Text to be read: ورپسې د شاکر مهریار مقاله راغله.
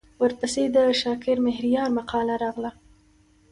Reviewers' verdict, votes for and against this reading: accepted, 2, 0